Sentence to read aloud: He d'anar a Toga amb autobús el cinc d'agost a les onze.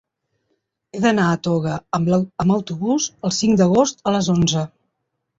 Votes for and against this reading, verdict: 1, 2, rejected